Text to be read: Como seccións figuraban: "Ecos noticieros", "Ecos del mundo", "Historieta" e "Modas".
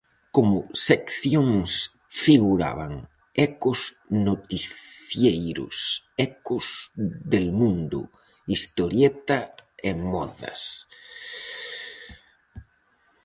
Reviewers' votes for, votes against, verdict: 0, 4, rejected